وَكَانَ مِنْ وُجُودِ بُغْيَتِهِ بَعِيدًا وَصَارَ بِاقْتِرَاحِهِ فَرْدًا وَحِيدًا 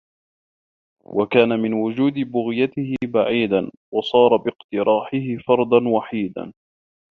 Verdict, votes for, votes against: accepted, 2, 1